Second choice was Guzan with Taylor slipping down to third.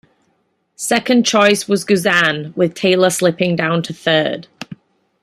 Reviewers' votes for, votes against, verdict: 2, 0, accepted